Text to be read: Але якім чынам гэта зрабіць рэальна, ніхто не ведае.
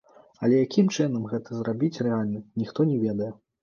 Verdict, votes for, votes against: accepted, 2, 0